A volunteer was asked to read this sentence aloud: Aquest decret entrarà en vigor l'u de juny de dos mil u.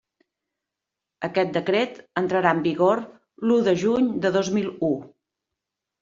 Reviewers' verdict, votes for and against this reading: accepted, 3, 0